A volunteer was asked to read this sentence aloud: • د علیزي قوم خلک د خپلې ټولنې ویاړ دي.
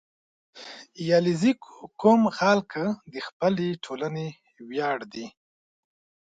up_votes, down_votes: 1, 2